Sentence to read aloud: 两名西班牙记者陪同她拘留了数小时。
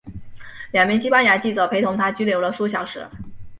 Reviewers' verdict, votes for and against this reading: accepted, 2, 0